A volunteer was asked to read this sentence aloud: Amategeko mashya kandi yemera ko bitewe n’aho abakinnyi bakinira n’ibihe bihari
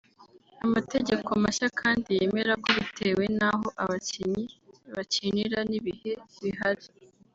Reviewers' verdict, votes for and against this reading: accepted, 2, 0